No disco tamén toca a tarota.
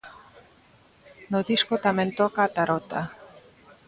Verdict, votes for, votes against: accepted, 2, 0